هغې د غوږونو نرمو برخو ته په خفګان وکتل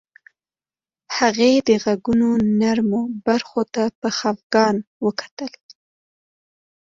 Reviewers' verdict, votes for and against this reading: accepted, 2, 0